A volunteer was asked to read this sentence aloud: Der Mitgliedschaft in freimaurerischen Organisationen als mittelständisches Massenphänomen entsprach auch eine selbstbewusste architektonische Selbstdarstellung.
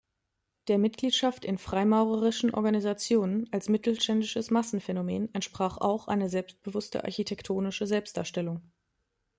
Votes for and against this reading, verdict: 2, 0, accepted